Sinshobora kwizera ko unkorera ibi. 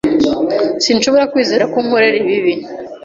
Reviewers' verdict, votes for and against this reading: rejected, 1, 2